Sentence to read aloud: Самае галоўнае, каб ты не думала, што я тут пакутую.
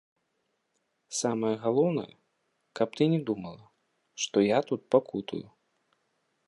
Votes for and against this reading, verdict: 1, 3, rejected